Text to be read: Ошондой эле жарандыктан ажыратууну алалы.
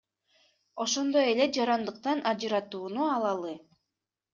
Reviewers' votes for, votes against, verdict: 2, 0, accepted